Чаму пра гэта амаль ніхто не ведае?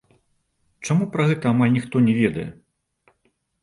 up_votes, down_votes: 2, 0